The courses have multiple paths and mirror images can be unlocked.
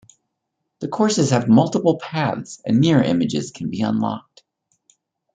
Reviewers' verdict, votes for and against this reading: accepted, 2, 1